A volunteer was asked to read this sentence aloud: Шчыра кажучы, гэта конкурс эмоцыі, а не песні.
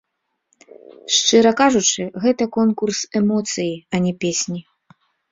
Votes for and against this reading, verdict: 2, 0, accepted